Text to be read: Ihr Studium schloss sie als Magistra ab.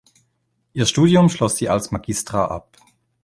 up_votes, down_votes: 2, 0